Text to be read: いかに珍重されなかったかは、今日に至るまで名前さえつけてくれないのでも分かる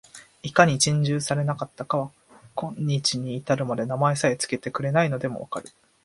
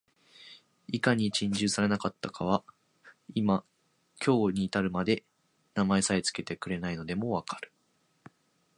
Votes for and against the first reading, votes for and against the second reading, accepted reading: 2, 0, 0, 2, first